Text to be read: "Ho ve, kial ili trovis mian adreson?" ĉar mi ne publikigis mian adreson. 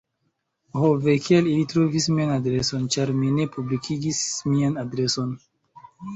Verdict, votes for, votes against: rejected, 0, 2